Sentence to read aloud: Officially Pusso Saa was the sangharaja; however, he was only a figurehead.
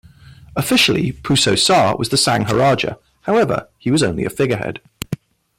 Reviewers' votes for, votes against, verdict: 2, 1, accepted